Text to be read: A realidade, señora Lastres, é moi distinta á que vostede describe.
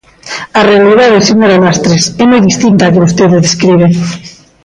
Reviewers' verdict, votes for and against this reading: accepted, 2, 0